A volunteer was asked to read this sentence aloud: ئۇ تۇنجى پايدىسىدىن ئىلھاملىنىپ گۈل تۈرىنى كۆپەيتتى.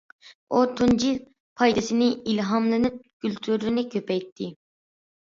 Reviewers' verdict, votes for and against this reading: rejected, 0, 2